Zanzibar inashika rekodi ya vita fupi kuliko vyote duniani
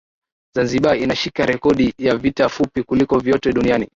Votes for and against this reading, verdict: 1, 2, rejected